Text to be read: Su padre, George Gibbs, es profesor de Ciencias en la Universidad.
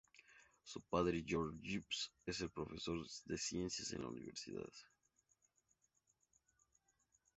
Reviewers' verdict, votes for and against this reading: rejected, 0, 2